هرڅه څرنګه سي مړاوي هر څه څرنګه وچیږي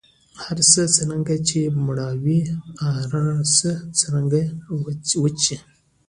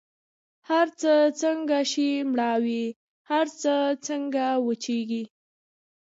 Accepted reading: first